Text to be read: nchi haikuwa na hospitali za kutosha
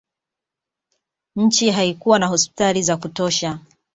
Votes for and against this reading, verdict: 2, 0, accepted